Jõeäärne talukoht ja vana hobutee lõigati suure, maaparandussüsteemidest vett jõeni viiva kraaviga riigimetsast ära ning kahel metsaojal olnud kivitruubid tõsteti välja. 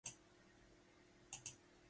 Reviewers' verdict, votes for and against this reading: rejected, 0, 2